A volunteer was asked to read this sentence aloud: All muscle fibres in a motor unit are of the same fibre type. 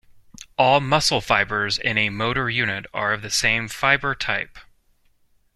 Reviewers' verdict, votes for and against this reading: accepted, 2, 0